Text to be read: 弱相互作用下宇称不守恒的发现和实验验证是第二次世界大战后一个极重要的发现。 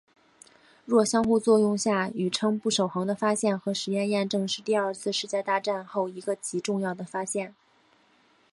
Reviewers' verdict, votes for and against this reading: rejected, 1, 2